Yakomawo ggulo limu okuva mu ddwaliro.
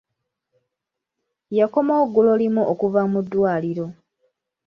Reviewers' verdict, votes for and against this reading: accepted, 2, 0